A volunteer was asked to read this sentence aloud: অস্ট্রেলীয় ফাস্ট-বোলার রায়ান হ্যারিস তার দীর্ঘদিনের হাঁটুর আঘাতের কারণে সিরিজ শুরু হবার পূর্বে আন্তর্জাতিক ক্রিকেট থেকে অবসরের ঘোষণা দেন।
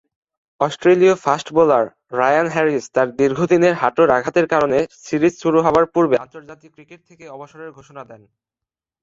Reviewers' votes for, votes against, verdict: 2, 0, accepted